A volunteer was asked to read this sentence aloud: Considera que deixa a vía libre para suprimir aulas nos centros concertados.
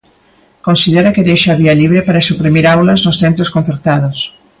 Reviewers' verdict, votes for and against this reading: accepted, 2, 0